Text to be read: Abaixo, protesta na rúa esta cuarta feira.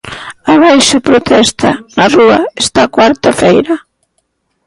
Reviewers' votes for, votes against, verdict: 2, 0, accepted